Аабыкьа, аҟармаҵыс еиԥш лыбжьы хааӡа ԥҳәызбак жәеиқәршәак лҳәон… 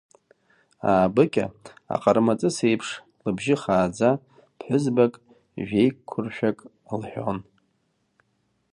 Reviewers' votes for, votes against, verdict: 2, 0, accepted